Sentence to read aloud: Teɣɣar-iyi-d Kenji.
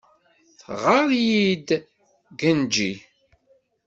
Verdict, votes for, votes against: accepted, 2, 0